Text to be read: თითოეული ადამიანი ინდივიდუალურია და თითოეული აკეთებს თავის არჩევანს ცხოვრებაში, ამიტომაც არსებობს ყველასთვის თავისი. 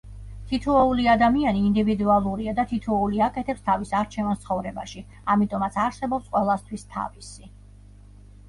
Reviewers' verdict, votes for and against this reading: accepted, 2, 0